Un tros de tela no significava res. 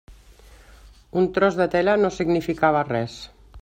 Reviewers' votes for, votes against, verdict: 3, 0, accepted